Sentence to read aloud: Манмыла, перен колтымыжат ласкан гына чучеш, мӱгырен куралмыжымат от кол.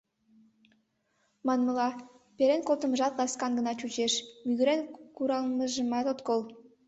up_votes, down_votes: 2, 0